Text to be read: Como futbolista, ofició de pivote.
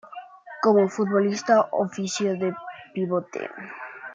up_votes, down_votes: 2, 1